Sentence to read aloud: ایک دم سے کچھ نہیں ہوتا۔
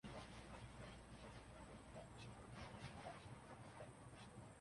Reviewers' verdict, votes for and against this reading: rejected, 0, 2